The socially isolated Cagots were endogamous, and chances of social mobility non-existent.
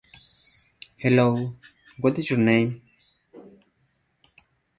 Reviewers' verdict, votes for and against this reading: rejected, 0, 2